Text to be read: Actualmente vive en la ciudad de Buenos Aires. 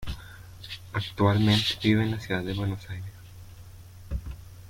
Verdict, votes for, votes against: accepted, 2, 0